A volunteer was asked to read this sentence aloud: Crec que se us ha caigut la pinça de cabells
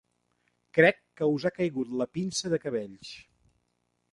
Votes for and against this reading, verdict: 0, 2, rejected